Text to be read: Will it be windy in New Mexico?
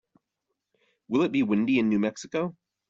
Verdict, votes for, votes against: accepted, 2, 0